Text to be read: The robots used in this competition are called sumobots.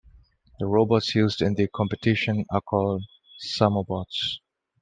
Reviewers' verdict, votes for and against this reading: rejected, 1, 2